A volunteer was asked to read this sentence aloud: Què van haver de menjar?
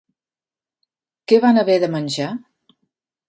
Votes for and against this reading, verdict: 3, 0, accepted